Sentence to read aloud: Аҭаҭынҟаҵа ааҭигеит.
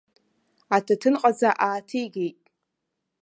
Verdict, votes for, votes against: accepted, 2, 0